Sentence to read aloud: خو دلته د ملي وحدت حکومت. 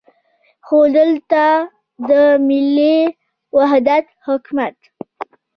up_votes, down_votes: 2, 0